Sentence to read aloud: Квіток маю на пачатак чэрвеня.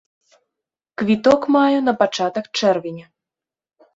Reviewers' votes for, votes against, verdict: 2, 0, accepted